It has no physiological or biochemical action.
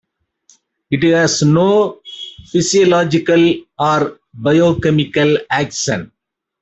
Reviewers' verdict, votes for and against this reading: accepted, 2, 0